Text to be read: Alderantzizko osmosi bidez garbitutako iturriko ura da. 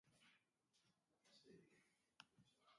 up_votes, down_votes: 0, 2